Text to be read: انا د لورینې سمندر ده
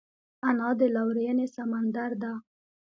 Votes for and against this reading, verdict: 2, 1, accepted